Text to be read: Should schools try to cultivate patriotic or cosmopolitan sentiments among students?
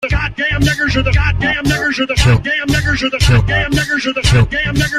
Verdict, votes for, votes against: rejected, 0, 2